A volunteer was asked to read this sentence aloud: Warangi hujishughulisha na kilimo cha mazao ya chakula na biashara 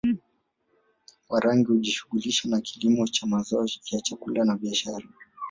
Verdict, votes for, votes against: rejected, 1, 2